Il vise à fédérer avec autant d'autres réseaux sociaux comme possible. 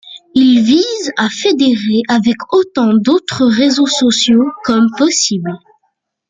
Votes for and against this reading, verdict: 2, 0, accepted